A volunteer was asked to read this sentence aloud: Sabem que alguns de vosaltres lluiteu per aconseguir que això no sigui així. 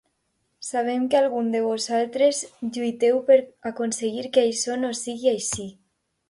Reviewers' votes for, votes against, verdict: 2, 0, accepted